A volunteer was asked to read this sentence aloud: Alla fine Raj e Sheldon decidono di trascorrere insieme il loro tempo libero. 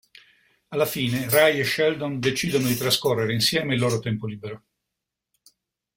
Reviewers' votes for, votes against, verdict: 3, 0, accepted